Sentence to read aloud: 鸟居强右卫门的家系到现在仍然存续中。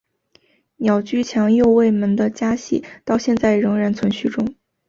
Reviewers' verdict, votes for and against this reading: accepted, 3, 0